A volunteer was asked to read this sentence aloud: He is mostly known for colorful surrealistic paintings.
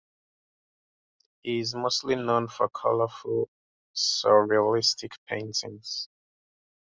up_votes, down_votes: 0, 2